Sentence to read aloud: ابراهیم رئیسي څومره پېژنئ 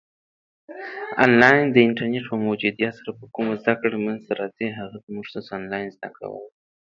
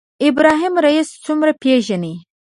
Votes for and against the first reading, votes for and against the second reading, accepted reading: 0, 2, 2, 0, second